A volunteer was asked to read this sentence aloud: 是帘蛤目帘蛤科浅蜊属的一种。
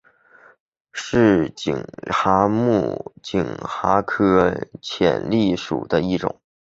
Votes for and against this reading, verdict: 2, 3, rejected